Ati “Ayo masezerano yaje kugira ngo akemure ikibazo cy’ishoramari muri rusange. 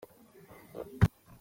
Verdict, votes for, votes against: rejected, 0, 2